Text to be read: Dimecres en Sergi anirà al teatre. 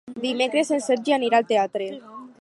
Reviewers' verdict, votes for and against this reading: accepted, 4, 0